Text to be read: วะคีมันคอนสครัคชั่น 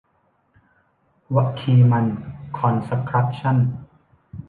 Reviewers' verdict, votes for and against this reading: rejected, 0, 2